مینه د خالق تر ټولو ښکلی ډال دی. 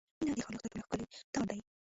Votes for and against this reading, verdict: 1, 2, rejected